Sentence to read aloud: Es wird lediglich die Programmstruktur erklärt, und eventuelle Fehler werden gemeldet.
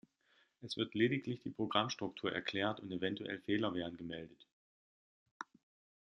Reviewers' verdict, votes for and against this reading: rejected, 1, 2